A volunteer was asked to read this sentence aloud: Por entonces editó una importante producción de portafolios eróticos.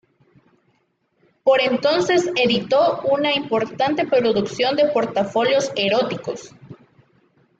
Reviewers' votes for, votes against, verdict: 2, 0, accepted